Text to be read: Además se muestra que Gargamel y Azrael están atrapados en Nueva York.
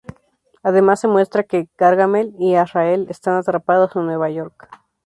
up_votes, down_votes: 2, 0